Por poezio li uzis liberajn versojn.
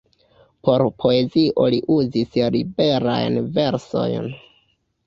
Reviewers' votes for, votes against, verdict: 2, 0, accepted